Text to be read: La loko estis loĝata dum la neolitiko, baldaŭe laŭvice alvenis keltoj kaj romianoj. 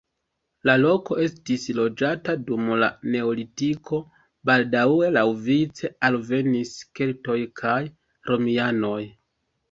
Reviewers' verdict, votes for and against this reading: rejected, 1, 2